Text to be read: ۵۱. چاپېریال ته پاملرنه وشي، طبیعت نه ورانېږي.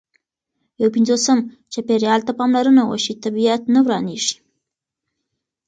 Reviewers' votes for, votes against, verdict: 0, 2, rejected